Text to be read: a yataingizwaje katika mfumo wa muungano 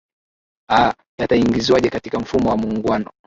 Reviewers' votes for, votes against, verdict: 5, 3, accepted